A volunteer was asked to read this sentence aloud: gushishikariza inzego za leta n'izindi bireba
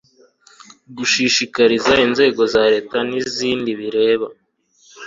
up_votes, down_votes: 2, 0